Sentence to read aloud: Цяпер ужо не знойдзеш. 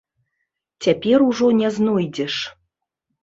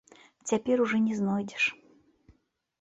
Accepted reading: first